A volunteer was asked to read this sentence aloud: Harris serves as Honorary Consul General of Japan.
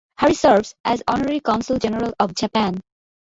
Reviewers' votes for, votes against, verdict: 2, 0, accepted